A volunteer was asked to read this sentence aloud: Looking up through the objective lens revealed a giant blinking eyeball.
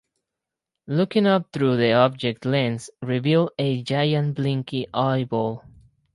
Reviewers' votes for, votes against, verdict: 4, 0, accepted